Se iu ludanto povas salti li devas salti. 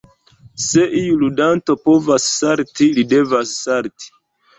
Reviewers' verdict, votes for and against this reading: accepted, 2, 0